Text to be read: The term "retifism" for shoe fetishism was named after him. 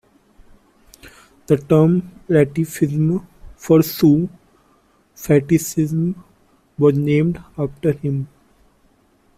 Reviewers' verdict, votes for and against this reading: rejected, 0, 2